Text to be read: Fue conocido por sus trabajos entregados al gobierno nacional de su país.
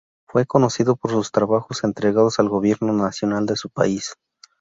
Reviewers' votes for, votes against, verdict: 0, 2, rejected